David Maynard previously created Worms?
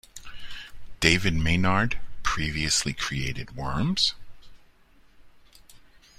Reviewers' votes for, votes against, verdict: 2, 0, accepted